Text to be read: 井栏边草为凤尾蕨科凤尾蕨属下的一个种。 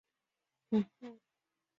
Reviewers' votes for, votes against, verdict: 0, 5, rejected